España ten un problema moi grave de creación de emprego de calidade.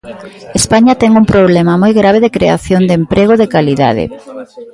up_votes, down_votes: 2, 0